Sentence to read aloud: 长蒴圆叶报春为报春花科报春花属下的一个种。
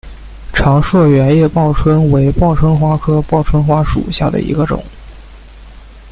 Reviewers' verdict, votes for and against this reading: rejected, 0, 2